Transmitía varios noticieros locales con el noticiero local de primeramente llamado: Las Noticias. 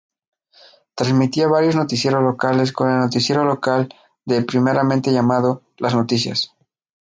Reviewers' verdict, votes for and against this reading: accepted, 2, 0